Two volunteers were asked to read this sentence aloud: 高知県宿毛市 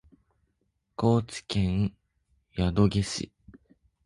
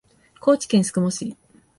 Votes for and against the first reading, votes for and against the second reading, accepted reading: 1, 2, 2, 0, second